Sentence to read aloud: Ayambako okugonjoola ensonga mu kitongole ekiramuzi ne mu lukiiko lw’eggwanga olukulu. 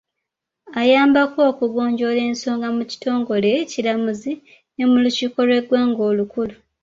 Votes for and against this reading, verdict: 2, 0, accepted